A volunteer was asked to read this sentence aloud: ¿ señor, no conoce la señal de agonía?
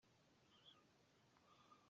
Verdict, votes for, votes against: rejected, 0, 2